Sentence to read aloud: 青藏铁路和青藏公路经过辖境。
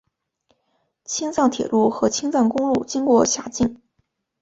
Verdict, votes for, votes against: accepted, 7, 0